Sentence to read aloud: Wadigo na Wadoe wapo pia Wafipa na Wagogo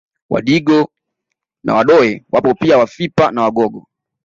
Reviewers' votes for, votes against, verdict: 2, 0, accepted